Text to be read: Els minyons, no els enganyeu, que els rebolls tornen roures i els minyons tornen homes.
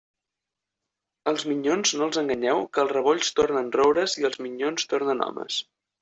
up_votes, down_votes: 2, 0